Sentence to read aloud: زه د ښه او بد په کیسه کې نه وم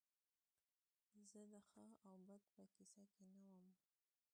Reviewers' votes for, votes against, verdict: 3, 2, accepted